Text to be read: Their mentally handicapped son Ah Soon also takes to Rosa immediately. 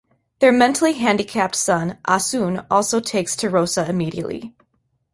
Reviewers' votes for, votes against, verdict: 2, 0, accepted